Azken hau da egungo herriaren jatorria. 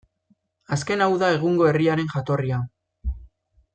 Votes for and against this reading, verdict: 2, 0, accepted